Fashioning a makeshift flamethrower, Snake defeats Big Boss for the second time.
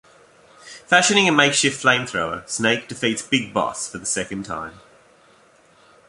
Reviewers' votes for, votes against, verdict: 2, 0, accepted